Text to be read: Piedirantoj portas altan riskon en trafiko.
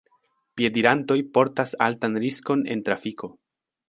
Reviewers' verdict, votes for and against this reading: accepted, 2, 1